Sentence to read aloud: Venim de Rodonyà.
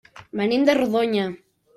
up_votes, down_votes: 0, 2